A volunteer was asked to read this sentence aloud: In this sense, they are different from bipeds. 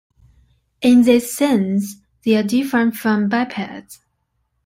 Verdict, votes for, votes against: accepted, 2, 0